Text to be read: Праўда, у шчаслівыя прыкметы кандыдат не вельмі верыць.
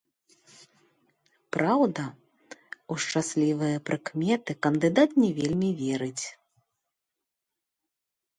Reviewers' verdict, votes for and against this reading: accepted, 2, 0